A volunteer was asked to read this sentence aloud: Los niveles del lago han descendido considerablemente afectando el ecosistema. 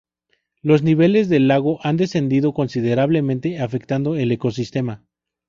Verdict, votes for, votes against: accepted, 4, 0